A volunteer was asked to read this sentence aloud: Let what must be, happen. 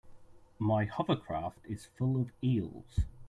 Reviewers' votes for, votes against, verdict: 0, 2, rejected